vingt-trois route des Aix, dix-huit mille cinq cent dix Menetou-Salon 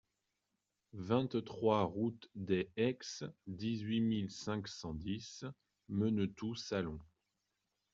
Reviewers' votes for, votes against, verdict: 2, 0, accepted